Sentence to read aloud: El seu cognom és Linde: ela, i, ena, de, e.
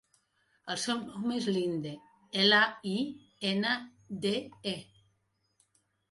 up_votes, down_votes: 1, 2